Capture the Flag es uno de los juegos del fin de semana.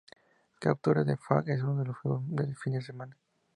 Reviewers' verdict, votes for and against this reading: rejected, 0, 2